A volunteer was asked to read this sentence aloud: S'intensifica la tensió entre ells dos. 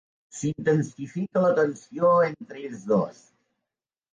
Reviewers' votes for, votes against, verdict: 2, 0, accepted